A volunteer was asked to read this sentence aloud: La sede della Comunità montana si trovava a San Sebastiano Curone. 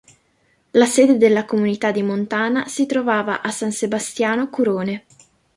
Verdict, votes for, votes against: rejected, 1, 3